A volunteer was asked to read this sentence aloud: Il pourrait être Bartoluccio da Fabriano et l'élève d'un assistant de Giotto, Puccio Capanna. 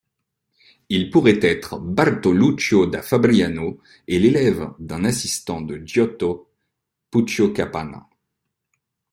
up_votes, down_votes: 2, 0